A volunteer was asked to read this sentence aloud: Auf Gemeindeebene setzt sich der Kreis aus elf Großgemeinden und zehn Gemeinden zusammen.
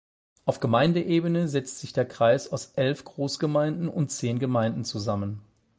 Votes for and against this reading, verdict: 8, 0, accepted